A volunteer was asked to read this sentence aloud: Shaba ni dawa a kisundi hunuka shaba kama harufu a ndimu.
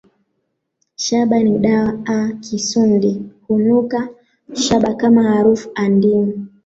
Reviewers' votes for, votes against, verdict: 3, 2, accepted